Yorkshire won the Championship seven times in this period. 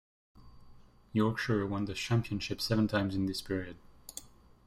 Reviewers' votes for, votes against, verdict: 2, 0, accepted